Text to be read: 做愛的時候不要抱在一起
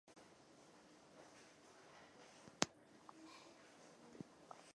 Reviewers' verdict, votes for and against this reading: rejected, 0, 2